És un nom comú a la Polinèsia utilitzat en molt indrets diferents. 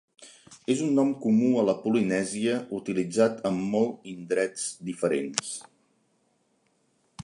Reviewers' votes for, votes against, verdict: 2, 0, accepted